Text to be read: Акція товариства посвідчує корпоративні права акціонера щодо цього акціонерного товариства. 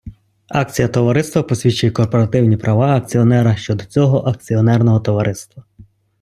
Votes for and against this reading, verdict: 2, 0, accepted